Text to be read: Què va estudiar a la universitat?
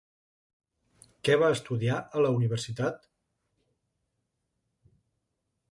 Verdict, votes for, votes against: accepted, 4, 0